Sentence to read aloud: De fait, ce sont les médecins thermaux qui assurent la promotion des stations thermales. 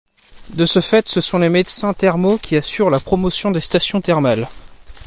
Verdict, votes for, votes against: rejected, 1, 2